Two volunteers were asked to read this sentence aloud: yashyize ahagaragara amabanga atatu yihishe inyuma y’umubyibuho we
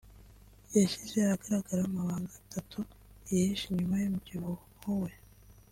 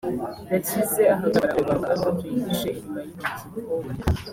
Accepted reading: first